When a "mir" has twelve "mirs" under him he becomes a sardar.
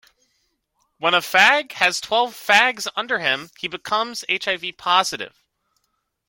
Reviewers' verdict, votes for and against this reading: rejected, 0, 2